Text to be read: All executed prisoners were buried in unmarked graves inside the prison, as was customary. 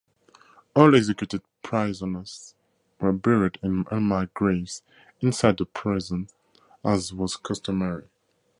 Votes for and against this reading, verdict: 2, 0, accepted